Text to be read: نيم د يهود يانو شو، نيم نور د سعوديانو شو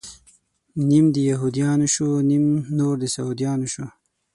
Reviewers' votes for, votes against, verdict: 6, 0, accepted